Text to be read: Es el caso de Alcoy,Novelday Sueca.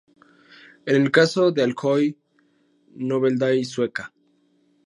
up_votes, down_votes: 0, 2